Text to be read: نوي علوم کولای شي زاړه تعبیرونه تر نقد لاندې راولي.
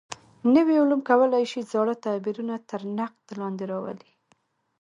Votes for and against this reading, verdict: 2, 0, accepted